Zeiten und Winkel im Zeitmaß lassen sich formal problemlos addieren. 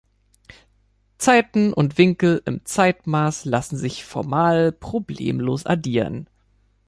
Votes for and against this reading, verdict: 2, 0, accepted